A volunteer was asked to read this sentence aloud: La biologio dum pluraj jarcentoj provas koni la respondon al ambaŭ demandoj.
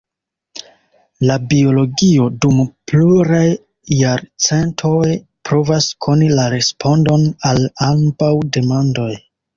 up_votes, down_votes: 1, 2